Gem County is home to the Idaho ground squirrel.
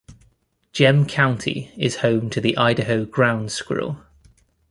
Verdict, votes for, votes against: accepted, 2, 0